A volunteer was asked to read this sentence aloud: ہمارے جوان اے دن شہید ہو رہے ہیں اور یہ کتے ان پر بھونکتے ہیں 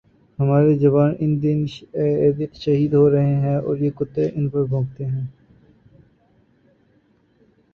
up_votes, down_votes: 10, 2